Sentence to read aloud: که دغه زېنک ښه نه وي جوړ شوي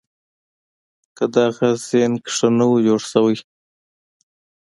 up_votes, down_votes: 2, 1